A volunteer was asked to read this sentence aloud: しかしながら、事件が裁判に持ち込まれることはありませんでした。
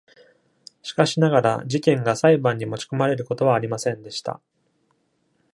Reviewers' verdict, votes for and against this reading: accepted, 2, 0